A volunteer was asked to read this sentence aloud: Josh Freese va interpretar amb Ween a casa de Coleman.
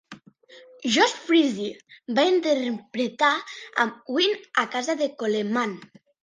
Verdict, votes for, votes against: accepted, 3, 1